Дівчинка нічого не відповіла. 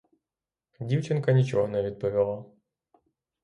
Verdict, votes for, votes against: accepted, 3, 0